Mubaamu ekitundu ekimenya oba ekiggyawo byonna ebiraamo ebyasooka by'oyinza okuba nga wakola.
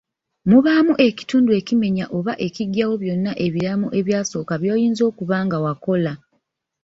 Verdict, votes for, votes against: rejected, 1, 2